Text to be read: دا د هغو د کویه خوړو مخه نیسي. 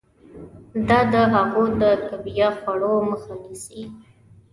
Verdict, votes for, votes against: accepted, 2, 0